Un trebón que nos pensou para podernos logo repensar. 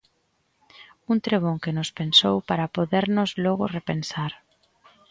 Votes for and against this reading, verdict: 2, 0, accepted